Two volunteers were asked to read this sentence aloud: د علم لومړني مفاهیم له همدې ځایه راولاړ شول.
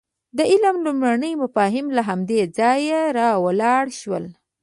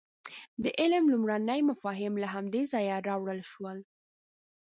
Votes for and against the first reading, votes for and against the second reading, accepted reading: 2, 0, 0, 3, first